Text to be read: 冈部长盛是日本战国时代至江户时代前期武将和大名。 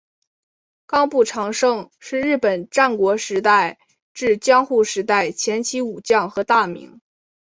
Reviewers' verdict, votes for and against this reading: accepted, 2, 0